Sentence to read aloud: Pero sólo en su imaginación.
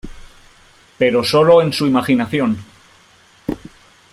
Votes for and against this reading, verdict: 2, 0, accepted